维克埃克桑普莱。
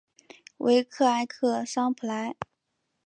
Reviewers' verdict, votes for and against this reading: accepted, 3, 0